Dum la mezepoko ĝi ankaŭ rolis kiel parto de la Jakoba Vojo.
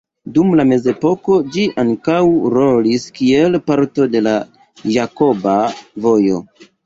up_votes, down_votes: 2, 0